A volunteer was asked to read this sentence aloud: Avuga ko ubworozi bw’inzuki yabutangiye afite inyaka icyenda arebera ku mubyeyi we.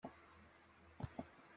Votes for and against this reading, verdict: 2, 1, accepted